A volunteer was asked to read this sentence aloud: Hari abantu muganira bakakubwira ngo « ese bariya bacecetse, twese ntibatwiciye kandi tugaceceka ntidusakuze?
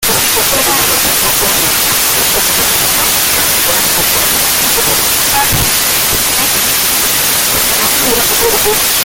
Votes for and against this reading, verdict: 0, 2, rejected